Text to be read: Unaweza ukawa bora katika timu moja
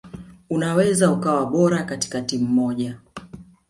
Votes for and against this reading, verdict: 2, 1, accepted